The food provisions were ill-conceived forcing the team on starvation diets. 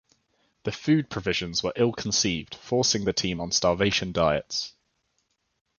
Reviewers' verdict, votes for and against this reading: accepted, 2, 0